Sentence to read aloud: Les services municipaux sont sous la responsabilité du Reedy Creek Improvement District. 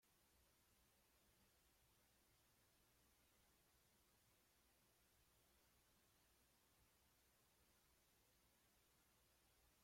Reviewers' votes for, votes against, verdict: 0, 2, rejected